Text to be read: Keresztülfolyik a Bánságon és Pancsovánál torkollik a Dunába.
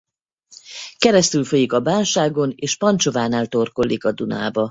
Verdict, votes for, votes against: rejected, 2, 2